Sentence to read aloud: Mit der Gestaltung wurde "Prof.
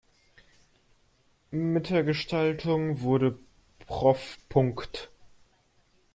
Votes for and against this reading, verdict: 0, 2, rejected